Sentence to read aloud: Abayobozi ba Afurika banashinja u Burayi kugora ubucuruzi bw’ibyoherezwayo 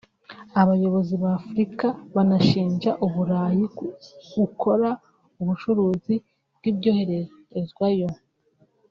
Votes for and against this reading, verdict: 1, 2, rejected